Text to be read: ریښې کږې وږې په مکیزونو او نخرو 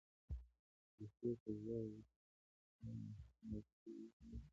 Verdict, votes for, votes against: rejected, 0, 2